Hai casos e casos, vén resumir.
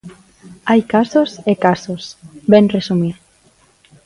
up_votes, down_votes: 2, 0